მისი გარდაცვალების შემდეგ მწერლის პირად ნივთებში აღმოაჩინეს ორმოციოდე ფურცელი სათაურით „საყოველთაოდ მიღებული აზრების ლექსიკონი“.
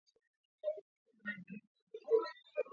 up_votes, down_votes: 0, 2